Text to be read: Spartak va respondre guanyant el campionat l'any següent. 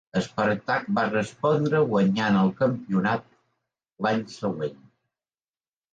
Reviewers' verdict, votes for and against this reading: accepted, 2, 0